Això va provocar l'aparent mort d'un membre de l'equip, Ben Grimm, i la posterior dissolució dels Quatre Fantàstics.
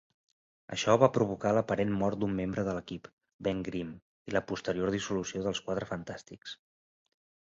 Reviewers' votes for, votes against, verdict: 2, 0, accepted